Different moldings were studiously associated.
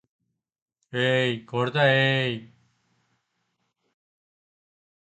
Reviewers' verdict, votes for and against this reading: rejected, 0, 2